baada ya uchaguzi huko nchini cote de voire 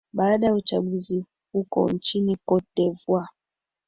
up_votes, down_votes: 2, 1